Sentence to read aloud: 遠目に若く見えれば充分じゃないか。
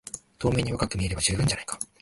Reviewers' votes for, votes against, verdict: 0, 2, rejected